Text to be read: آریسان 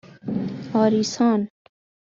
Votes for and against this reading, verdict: 2, 0, accepted